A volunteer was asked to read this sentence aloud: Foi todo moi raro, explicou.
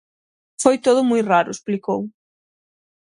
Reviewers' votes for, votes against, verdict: 6, 0, accepted